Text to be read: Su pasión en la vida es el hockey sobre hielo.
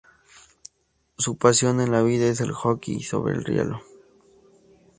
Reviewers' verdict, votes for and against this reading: accepted, 2, 0